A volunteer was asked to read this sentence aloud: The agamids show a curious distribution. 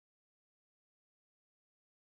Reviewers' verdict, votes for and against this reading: rejected, 0, 2